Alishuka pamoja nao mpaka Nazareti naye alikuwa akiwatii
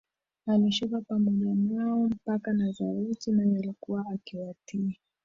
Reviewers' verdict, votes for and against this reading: rejected, 0, 2